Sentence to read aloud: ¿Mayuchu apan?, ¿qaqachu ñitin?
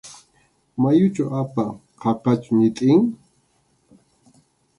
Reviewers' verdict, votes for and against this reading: accepted, 2, 0